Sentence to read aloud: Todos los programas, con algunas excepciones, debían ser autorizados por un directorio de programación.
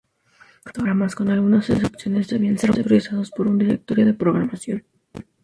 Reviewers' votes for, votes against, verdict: 0, 2, rejected